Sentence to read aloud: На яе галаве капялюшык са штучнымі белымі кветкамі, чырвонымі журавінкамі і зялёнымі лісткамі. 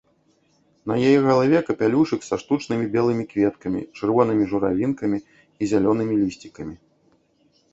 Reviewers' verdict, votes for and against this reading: rejected, 1, 2